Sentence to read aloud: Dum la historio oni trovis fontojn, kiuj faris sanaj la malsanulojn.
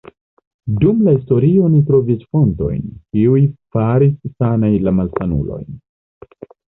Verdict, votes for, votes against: rejected, 1, 2